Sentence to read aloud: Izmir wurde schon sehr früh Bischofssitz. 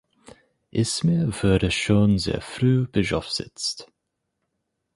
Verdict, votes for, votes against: rejected, 0, 4